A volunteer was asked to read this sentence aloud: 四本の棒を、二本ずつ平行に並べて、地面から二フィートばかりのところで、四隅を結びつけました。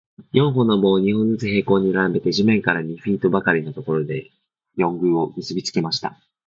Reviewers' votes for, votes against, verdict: 1, 2, rejected